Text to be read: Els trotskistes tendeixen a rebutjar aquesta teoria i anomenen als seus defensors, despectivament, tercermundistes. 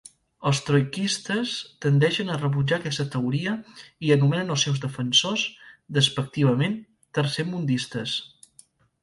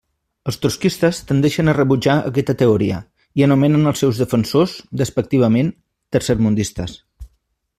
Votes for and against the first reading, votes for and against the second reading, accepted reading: 4, 0, 1, 2, first